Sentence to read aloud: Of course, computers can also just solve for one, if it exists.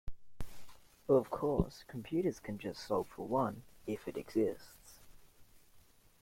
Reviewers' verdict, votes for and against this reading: rejected, 0, 2